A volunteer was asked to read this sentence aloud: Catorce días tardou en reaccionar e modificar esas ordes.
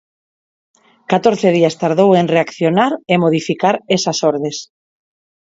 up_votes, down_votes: 4, 0